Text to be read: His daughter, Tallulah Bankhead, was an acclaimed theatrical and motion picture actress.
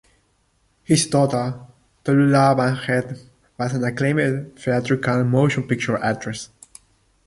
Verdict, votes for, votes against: rejected, 1, 2